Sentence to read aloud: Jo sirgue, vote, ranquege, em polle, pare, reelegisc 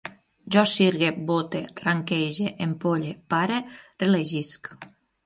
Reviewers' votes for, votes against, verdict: 9, 0, accepted